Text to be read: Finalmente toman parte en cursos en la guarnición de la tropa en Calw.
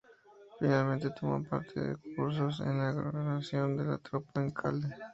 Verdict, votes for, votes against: rejected, 0, 2